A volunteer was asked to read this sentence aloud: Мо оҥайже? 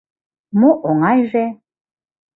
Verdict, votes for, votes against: accepted, 2, 0